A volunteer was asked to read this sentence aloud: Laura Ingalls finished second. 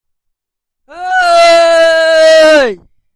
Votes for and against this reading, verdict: 0, 2, rejected